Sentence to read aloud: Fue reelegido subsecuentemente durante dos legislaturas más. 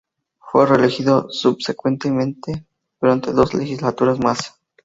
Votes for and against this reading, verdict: 0, 2, rejected